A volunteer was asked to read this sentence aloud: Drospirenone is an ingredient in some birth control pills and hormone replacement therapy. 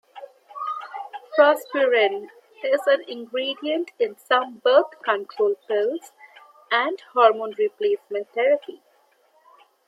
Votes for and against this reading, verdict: 0, 2, rejected